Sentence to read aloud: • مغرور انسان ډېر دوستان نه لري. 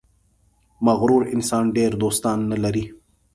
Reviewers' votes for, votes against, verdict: 3, 0, accepted